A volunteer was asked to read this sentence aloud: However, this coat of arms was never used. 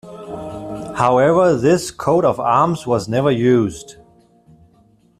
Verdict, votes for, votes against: accepted, 2, 0